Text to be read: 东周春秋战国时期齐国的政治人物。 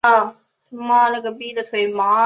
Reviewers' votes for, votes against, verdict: 3, 2, accepted